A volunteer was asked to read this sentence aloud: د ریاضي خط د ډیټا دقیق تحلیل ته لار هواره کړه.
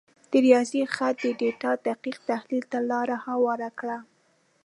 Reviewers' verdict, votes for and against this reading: accepted, 2, 0